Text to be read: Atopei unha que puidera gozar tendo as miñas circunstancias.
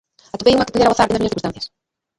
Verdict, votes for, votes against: rejected, 0, 2